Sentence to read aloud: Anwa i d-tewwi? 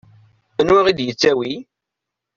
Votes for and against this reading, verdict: 0, 2, rejected